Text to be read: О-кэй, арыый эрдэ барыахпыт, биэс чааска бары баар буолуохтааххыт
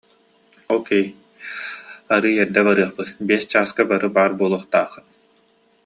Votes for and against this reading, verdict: 2, 0, accepted